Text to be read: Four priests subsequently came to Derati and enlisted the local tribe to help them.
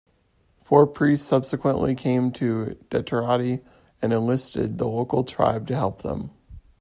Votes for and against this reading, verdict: 1, 2, rejected